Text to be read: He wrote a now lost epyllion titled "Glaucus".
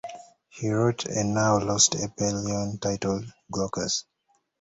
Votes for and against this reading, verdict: 2, 0, accepted